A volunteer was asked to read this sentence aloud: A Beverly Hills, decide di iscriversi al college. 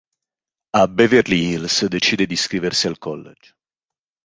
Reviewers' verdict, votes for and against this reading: accepted, 2, 0